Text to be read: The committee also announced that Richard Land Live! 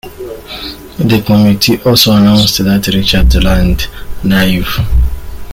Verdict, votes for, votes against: rejected, 1, 2